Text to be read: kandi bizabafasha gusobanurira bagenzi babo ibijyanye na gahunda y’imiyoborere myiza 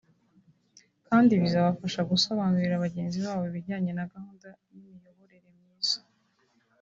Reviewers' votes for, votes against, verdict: 1, 2, rejected